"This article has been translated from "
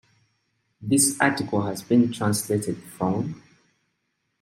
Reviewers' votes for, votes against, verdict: 2, 0, accepted